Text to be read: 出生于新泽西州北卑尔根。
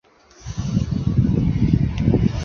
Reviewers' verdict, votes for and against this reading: rejected, 1, 2